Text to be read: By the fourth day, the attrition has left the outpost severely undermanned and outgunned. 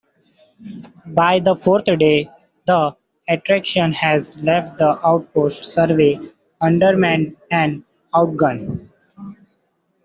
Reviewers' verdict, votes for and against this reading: rejected, 0, 2